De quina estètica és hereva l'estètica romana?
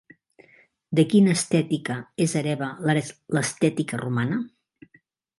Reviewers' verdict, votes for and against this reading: rejected, 0, 3